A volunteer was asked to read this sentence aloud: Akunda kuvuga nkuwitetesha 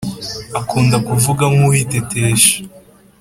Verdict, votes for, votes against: accepted, 2, 0